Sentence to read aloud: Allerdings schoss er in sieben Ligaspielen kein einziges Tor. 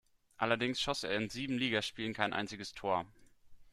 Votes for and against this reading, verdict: 2, 0, accepted